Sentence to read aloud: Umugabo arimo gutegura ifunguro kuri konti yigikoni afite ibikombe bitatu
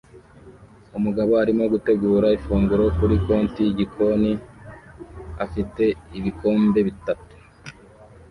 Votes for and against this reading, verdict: 2, 0, accepted